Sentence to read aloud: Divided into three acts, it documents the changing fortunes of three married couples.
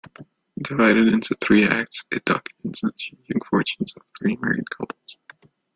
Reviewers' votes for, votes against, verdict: 0, 2, rejected